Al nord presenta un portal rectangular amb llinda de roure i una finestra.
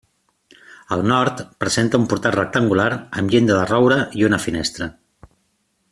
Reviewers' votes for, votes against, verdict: 2, 0, accepted